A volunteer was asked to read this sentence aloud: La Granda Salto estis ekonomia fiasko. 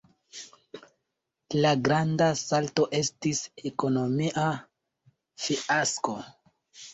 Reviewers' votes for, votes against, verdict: 2, 0, accepted